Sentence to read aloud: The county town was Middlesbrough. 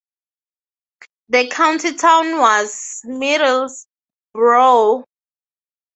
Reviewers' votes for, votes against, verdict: 6, 0, accepted